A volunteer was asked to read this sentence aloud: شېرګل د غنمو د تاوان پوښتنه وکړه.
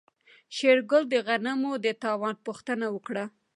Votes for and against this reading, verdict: 2, 1, accepted